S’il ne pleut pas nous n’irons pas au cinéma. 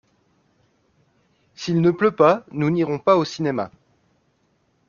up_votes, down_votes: 2, 0